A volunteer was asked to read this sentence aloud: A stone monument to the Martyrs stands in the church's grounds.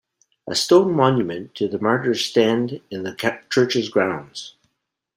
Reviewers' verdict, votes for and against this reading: rejected, 0, 2